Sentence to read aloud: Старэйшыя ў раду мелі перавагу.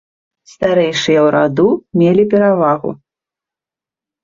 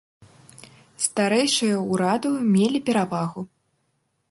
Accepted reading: first